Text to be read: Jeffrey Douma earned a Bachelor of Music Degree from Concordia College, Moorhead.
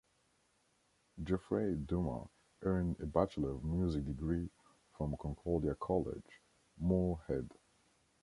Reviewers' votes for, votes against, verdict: 1, 2, rejected